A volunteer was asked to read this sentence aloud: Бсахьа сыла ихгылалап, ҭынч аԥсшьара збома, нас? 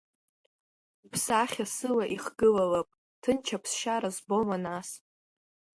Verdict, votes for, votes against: accepted, 2, 0